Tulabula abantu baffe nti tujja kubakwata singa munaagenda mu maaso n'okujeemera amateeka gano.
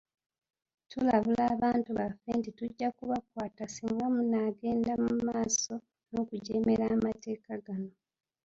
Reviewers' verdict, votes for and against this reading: rejected, 2, 3